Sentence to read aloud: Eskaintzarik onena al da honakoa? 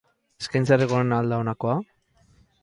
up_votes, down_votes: 0, 2